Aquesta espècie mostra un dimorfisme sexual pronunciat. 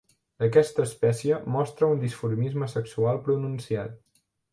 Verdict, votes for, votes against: rejected, 0, 3